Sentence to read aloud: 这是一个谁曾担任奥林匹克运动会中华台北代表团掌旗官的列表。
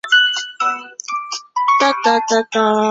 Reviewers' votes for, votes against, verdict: 0, 2, rejected